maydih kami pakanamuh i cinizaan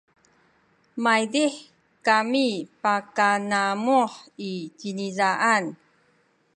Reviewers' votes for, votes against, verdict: 0, 2, rejected